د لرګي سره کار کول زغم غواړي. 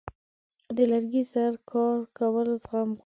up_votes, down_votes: 0, 2